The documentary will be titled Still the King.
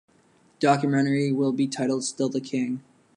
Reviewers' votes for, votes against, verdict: 1, 2, rejected